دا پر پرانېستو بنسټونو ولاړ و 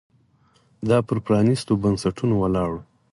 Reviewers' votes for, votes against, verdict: 4, 0, accepted